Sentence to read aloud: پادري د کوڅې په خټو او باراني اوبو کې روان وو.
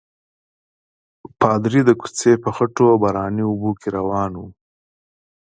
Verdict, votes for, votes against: accepted, 2, 1